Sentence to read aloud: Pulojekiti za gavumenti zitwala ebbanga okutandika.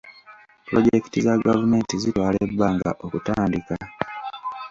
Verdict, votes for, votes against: accepted, 2, 0